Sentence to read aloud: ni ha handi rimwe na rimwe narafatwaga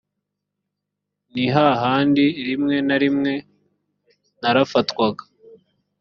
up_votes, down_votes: 3, 0